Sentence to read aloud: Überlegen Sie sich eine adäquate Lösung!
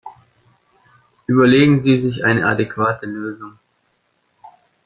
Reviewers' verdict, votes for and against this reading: rejected, 1, 2